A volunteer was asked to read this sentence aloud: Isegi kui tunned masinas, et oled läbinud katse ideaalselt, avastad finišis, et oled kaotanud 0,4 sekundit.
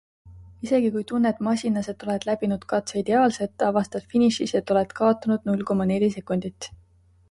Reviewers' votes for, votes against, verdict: 0, 2, rejected